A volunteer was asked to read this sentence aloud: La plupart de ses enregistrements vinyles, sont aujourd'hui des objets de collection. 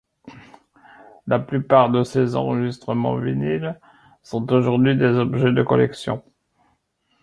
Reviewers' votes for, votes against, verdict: 2, 0, accepted